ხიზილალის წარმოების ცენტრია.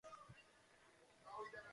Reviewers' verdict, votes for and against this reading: rejected, 0, 2